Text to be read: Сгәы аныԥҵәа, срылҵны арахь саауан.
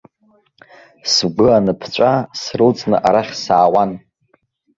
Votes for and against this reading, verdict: 1, 2, rejected